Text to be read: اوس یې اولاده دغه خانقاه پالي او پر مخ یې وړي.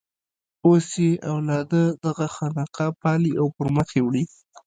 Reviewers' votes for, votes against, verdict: 0, 2, rejected